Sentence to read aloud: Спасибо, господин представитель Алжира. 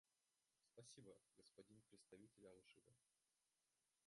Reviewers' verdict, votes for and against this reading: rejected, 0, 2